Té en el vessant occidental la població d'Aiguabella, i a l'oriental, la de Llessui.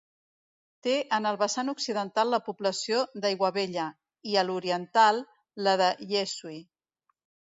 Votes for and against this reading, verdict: 1, 2, rejected